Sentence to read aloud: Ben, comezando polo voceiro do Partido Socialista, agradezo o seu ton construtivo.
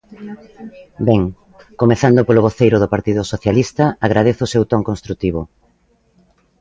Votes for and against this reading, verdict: 2, 0, accepted